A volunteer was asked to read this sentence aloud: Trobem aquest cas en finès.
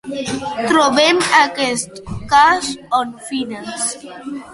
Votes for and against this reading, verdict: 0, 2, rejected